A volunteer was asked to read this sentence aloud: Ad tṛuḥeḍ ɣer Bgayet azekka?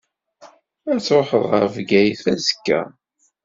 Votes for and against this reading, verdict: 2, 0, accepted